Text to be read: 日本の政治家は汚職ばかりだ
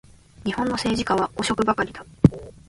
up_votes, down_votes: 2, 0